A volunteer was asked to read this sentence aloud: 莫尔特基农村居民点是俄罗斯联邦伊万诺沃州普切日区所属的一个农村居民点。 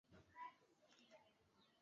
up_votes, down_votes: 1, 2